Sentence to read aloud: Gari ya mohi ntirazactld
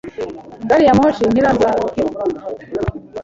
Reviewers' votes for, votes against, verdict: 2, 0, accepted